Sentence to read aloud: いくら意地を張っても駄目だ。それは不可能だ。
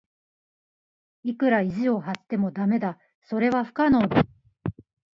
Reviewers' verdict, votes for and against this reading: rejected, 0, 2